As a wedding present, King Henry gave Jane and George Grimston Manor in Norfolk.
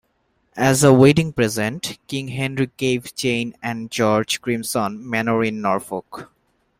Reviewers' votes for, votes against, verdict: 3, 0, accepted